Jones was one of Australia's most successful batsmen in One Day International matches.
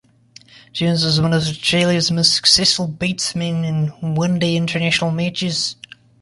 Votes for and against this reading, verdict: 2, 3, rejected